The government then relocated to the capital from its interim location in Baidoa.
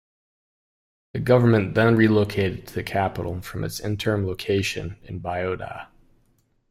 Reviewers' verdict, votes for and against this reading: rejected, 1, 2